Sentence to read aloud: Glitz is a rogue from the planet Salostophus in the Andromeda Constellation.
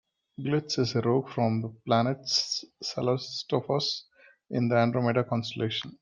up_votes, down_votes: 0, 2